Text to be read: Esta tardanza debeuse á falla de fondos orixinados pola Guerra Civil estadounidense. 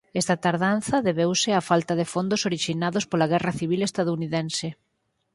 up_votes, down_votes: 0, 4